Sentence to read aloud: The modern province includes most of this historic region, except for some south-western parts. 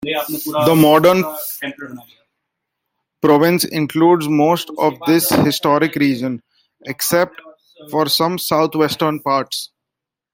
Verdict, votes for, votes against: rejected, 0, 2